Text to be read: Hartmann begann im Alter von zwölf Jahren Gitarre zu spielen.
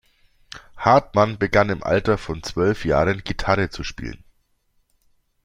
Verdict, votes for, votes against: accepted, 2, 0